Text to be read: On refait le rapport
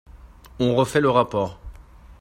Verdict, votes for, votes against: accepted, 2, 0